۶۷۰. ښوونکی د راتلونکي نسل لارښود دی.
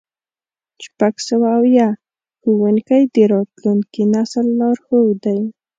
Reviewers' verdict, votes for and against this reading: rejected, 0, 2